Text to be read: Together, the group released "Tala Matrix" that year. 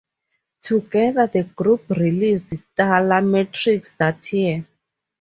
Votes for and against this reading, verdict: 4, 0, accepted